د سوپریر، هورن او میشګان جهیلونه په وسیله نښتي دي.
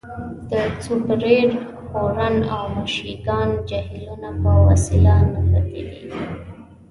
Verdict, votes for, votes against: rejected, 0, 2